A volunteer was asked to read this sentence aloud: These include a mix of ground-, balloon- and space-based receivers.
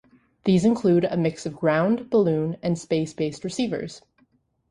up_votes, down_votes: 2, 0